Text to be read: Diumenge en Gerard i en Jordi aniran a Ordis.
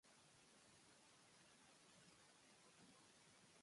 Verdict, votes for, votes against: rejected, 0, 2